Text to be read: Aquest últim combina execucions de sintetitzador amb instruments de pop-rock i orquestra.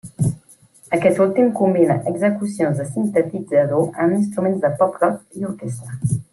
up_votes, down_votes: 1, 2